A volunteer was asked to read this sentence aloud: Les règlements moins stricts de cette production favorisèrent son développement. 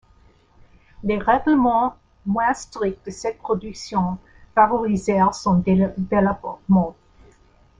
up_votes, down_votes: 1, 2